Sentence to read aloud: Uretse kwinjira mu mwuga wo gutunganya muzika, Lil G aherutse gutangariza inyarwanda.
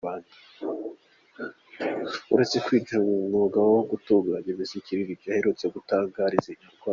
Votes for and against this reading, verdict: 1, 2, rejected